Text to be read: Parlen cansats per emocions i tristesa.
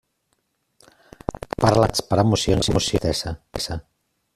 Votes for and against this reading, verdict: 0, 2, rejected